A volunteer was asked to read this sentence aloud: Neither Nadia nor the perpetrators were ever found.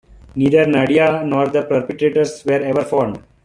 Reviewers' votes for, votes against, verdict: 2, 0, accepted